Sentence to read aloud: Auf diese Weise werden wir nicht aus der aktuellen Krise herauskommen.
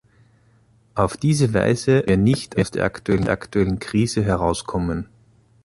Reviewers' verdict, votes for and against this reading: rejected, 0, 2